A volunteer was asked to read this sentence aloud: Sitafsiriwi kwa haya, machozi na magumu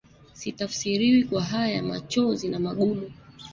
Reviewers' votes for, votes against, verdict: 1, 2, rejected